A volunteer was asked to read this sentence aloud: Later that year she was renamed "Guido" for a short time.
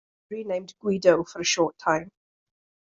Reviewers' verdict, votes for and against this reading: rejected, 0, 2